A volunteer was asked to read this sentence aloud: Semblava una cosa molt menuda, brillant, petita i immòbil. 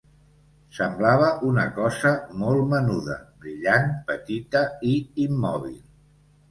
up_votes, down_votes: 2, 0